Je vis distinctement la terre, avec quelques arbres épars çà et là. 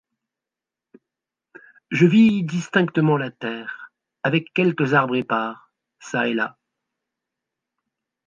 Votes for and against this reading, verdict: 2, 0, accepted